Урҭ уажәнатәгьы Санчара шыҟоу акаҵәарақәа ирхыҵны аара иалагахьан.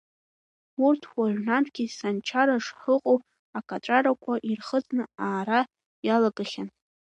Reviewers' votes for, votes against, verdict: 2, 0, accepted